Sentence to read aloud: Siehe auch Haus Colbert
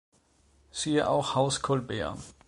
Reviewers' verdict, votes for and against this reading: accepted, 2, 0